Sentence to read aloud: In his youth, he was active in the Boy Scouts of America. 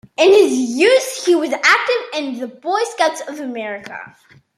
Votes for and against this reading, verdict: 2, 0, accepted